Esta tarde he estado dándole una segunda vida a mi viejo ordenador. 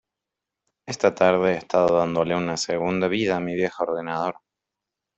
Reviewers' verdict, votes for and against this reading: accepted, 2, 0